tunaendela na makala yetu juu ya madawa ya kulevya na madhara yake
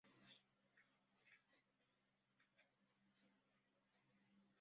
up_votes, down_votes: 0, 2